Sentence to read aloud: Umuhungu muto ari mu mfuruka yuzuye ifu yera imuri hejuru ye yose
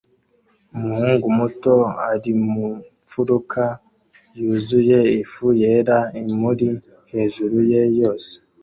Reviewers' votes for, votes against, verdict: 2, 0, accepted